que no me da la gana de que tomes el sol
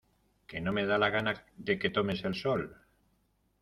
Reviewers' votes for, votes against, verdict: 2, 0, accepted